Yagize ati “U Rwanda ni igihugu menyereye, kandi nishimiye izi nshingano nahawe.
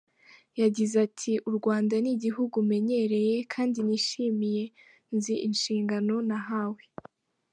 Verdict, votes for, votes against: rejected, 1, 2